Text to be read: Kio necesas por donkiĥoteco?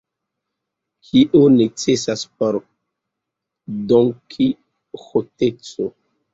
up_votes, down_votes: 1, 2